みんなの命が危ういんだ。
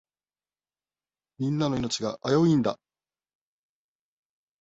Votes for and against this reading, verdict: 2, 0, accepted